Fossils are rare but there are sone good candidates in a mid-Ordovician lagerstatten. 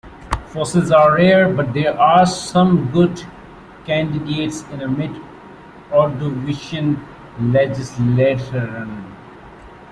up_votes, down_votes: 1, 2